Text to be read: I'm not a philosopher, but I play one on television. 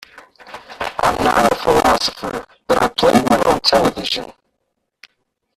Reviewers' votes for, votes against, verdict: 0, 2, rejected